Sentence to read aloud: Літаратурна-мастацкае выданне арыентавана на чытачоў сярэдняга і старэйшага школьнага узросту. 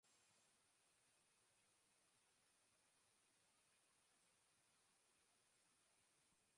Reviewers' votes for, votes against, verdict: 0, 2, rejected